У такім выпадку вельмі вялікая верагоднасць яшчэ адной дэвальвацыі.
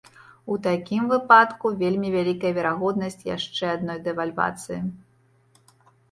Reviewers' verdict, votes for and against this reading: rejected, 1, 2